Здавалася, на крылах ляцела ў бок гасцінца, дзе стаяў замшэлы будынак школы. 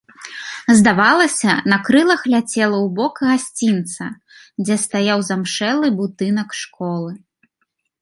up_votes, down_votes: 2, 0